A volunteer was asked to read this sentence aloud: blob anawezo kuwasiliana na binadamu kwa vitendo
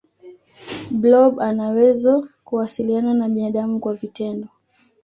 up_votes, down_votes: 2, 0